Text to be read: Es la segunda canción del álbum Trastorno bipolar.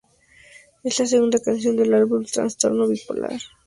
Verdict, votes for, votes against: accepted, 2, 0